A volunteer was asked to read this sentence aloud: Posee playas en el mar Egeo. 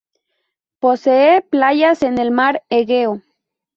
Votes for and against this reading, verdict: 0, 2, rejected